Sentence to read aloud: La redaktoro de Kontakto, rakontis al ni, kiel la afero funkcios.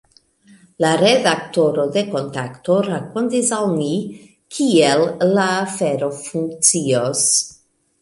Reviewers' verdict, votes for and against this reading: accepted, 2, 0